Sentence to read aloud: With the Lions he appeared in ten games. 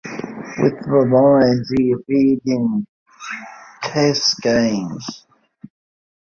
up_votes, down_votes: 0, 2